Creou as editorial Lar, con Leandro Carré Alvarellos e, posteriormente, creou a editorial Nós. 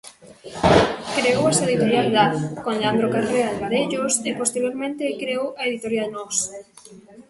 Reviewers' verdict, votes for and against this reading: rejected, 0, 2